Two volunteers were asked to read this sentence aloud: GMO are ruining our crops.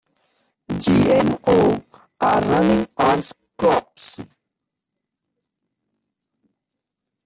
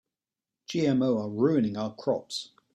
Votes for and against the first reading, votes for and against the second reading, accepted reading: 1, 3, 2, 0, second